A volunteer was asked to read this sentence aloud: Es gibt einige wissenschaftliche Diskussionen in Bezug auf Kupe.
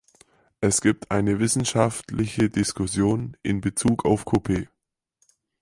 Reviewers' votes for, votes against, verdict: 0, 4, rejected